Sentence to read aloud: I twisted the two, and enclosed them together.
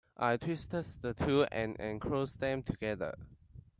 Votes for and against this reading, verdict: 2, 1, accepted